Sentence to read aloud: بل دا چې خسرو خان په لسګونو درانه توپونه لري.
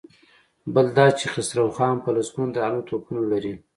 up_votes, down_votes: 2, 0